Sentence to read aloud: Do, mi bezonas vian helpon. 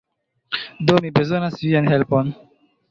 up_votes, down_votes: 2, 0